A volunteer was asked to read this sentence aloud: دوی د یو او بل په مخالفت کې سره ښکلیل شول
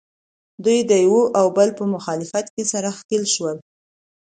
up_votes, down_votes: 1, 2